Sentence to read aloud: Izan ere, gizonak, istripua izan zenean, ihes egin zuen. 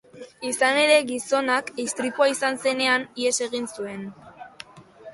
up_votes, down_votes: 0, 3